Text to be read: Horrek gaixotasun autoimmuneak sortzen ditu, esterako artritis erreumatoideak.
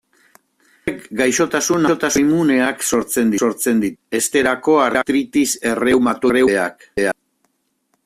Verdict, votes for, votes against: rejected, 0, 2